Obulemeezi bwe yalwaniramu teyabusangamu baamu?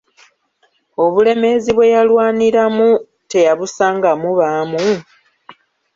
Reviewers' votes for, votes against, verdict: 2, 0, accepted